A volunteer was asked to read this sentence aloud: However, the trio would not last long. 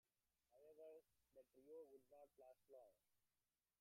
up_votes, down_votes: 0, 2